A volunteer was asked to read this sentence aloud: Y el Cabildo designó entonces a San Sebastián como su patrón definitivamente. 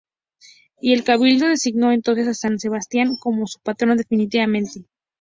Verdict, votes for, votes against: accepted, 2, 0